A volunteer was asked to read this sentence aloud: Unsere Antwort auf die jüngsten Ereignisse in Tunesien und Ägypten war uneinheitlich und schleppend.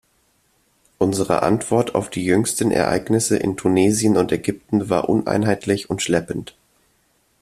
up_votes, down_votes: 2, 1